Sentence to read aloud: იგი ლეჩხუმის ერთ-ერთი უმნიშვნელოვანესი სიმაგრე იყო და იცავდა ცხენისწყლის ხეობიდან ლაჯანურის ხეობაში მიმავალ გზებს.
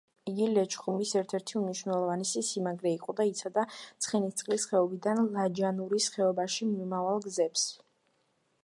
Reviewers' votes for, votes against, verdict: 2, 0, accepted